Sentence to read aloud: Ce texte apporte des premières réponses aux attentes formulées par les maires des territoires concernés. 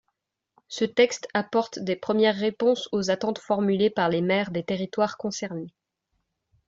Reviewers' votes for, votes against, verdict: 2, 0, accepted